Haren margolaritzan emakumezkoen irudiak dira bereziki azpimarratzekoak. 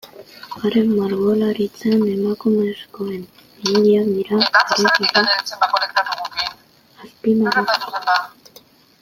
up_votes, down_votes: 0, 2